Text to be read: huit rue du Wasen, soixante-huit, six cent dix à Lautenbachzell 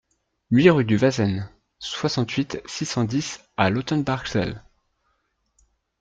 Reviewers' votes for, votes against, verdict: 2, 0, accepted